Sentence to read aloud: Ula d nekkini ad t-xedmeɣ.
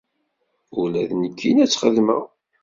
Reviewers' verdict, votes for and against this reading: accepted, 2, 0